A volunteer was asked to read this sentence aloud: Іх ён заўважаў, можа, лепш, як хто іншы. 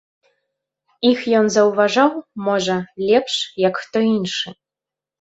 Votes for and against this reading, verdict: 2, 0, accepted